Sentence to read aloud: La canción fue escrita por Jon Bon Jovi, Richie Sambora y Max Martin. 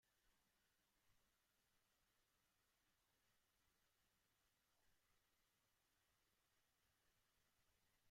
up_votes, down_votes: 0, 2